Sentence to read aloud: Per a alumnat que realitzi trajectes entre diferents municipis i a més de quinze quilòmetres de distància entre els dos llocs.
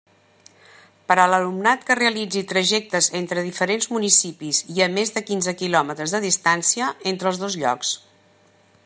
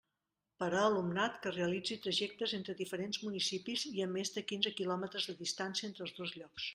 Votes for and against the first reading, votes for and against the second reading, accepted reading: 1, 2, 2, 0, second